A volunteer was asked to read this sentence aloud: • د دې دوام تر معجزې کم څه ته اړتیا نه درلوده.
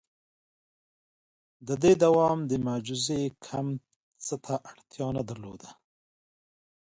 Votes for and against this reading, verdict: 2, 0, accepted